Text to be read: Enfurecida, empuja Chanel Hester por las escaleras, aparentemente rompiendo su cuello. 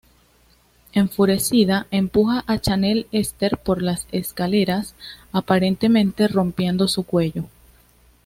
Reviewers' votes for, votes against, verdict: 1, 2, rejected